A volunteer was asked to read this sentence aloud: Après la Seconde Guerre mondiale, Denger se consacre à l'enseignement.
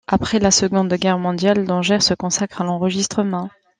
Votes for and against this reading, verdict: 1, 2, rejected